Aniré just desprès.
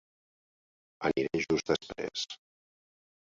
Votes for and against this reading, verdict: 0, 2, rejected